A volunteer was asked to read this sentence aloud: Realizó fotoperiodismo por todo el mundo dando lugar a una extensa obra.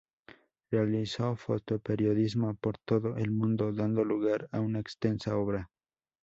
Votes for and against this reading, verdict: 4, 0, accepted